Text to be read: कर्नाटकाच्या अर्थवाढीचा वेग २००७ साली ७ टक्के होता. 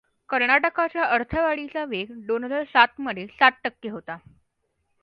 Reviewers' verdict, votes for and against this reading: rejected, 0, 2